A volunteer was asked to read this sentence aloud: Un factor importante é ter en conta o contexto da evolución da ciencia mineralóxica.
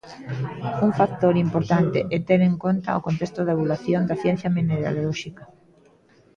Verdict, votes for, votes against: rejected, 1, 2